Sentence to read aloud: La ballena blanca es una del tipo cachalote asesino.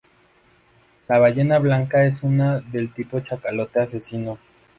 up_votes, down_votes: 0, 2